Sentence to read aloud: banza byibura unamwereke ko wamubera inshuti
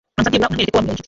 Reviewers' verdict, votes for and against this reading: rejected, 0, 2